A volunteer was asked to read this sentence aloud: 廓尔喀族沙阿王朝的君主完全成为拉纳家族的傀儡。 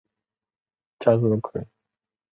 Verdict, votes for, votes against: accepted, 2, 1